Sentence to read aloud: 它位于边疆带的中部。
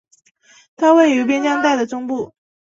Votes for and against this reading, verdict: 2, 0, accepted